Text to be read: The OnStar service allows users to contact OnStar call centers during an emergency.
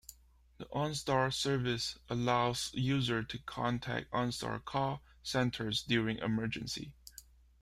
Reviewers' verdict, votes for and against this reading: accepted, 2, 1